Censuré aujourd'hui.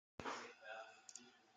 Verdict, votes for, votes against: rejected, 0, 2